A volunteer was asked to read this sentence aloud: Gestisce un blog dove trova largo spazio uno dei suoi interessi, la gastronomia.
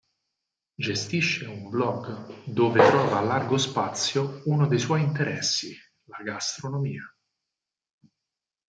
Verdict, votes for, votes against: rejected, 2, 4